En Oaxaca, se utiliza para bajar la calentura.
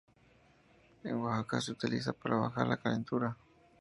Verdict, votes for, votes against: accepted, 2, 0